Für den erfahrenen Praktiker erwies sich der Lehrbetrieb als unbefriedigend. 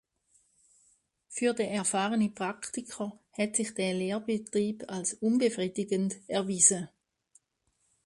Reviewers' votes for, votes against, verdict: 0, 2, rejected